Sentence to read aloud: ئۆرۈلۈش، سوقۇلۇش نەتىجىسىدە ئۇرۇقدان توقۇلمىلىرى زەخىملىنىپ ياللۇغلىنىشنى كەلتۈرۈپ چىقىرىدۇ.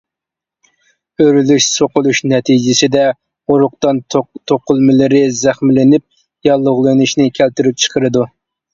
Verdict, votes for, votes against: accepted, 2, 0